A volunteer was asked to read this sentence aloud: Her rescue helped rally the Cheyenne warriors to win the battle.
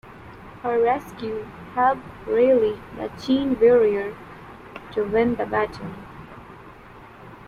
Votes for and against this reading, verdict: 2, 0, accepted